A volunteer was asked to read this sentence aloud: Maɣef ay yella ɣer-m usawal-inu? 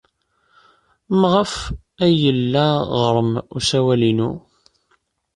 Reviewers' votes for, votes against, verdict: 2, 0, accepted